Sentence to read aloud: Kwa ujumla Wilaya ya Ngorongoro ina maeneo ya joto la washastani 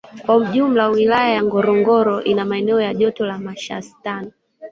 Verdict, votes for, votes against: accepted, 2, 1